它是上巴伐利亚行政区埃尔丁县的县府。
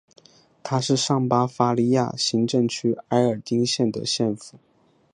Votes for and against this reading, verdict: 2, 1, accepted